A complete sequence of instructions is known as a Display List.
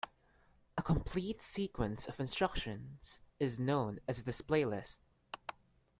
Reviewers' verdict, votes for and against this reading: rejected, 1, 2